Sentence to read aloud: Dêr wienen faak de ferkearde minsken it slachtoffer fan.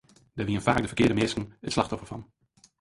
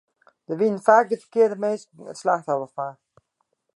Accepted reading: second